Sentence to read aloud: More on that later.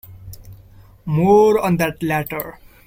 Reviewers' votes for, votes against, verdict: 2, 1, accepted